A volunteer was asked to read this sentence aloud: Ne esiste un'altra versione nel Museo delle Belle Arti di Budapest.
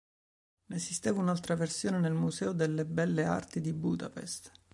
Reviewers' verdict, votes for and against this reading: rejected, 1, 2